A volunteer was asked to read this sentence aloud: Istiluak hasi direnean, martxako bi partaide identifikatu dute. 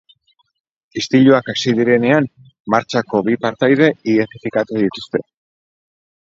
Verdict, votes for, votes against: rejected, 0, 4